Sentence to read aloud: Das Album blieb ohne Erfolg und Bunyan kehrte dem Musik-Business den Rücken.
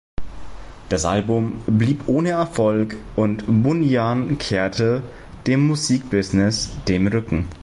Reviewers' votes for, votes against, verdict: 2, 0, accepted